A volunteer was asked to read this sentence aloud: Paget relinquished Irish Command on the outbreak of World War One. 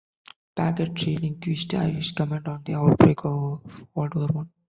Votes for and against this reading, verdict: 1, 2, rejected